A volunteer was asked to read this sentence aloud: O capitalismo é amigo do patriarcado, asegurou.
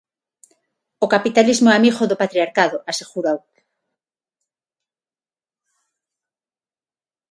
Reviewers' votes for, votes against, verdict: 6, 0, accepted